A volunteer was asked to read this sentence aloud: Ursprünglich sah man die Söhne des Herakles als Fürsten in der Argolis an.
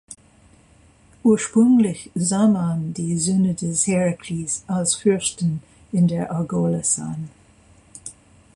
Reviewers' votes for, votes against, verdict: 0, 2, rejected